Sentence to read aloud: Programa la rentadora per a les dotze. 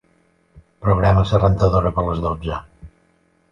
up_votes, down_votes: 0, 2